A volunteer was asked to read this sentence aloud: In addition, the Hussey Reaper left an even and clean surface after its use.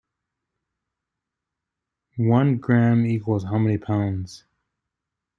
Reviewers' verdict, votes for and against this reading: rejected, 0, 2